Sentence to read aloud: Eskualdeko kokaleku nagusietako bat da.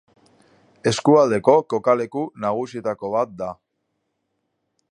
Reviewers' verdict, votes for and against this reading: accepted, 2, 0